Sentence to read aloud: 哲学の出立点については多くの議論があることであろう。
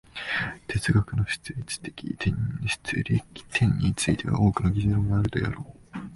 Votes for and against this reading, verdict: 0, 2, rejected